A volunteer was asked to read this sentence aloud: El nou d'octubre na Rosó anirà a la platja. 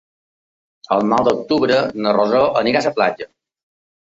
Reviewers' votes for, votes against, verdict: 2, 1, accepted